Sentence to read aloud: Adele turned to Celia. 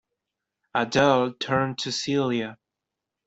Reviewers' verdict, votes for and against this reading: accepted, 2, 0